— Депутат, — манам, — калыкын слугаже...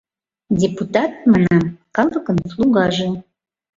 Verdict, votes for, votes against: accepted, 2, 0